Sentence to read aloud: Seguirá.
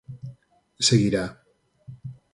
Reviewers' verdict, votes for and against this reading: accepted, 6, 0